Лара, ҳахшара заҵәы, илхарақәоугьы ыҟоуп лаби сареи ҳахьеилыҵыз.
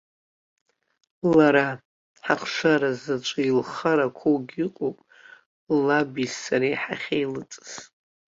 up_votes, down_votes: 2, 1